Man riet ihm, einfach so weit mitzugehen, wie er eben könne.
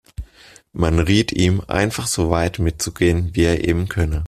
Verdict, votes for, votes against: accepted, 2, 0